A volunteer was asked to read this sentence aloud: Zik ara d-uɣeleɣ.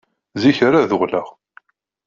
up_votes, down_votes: 0, 2